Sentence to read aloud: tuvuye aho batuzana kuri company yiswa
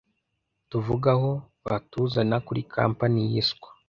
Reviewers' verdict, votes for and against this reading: rejected, 0, 2